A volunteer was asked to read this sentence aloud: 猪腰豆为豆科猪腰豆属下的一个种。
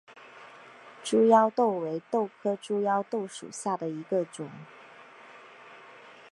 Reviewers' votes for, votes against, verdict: 6, 0, accepted